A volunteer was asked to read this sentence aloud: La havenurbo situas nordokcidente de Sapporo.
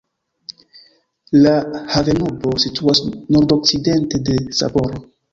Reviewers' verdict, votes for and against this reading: accepted, 3, 0